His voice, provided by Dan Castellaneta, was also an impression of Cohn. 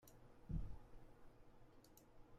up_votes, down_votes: 0, 2